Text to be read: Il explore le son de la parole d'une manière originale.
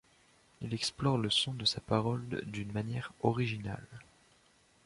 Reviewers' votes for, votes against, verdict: 1, 2, rejected